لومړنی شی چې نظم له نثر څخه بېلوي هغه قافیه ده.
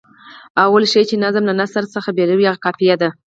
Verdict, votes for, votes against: accepted, 4, 0